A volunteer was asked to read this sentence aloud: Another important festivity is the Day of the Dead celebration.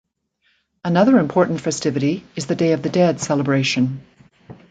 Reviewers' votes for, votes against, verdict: 2, 0, accepted